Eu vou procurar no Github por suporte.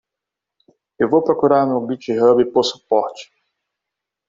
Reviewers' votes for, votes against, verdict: 1, 2, rejected